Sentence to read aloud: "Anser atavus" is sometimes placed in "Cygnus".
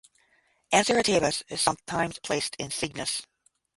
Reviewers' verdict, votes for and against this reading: accepted, 10, 5